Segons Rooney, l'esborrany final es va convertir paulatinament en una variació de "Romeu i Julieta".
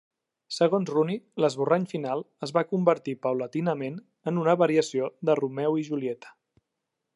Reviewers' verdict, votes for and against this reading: accepted, 2, 0